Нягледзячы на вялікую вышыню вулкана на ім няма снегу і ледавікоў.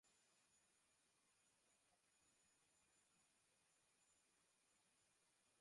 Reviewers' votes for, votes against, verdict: 0, 3, rejected